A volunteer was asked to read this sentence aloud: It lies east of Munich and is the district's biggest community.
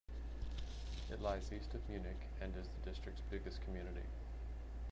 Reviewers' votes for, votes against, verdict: 2, 0, accepted